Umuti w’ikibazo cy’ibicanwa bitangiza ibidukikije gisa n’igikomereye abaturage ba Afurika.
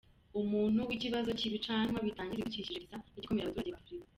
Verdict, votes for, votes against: rejected, 0, 2